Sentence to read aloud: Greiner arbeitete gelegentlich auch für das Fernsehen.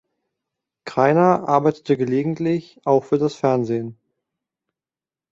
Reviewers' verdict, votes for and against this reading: accepted, 2, 0